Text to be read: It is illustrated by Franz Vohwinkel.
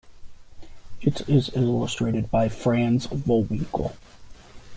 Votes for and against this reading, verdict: 1, 2, rejected